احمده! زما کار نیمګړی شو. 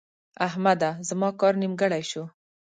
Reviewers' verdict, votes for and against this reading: accepted, 2, 0